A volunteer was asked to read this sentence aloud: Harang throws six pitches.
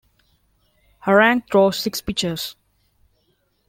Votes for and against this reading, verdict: 2, 0, accepted